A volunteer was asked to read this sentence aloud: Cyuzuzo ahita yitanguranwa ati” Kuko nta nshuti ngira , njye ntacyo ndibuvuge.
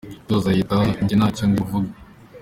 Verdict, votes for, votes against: accepted, 2, 0